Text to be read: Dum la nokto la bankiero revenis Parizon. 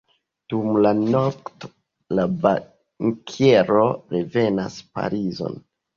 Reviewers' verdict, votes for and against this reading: rejected, 1, 2